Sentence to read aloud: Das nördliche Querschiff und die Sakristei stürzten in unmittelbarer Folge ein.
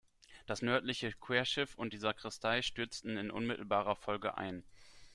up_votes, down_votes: 2, 0